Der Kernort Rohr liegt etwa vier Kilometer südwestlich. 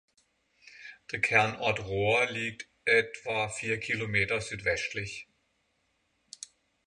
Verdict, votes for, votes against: accepted, 6, 3